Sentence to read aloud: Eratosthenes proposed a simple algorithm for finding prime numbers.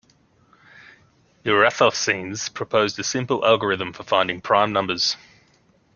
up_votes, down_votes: 2, 0